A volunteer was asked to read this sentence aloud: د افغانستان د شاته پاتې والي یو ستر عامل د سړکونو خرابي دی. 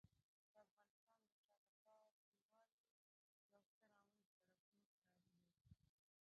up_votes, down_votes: 0, 2